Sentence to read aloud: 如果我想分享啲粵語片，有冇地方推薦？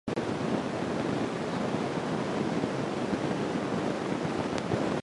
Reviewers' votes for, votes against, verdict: 0, 2, rejected